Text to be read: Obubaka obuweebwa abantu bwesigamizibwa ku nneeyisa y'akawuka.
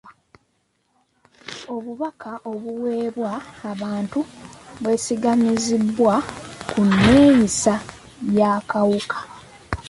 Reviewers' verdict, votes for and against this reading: rejected, 1, 2